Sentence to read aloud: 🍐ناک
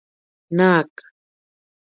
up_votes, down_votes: 1, 2